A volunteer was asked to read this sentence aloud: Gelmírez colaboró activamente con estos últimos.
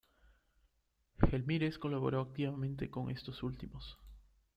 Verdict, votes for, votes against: rejected, 0, 2